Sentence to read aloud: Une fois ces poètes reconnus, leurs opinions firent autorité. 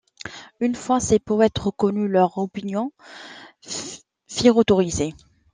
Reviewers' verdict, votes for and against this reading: rejected, 0, 2